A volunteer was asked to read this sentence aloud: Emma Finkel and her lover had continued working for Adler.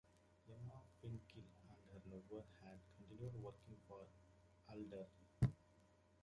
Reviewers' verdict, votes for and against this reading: rejected, 1, 2